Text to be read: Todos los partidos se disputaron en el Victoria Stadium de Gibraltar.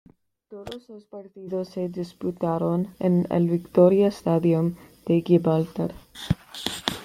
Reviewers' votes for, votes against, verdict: 2, 0, accepted